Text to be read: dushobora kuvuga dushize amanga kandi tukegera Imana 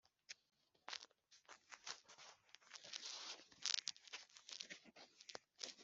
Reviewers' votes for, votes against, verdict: 2, 1, accepted